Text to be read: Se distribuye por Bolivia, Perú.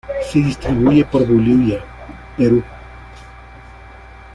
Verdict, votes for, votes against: accepted, 2, 0